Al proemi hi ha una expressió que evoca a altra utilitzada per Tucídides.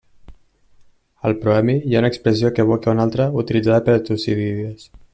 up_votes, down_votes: 1, 2